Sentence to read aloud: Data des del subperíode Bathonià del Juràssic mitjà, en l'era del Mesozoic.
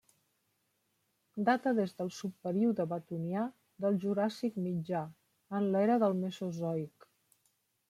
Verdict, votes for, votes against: rejected, 0, 2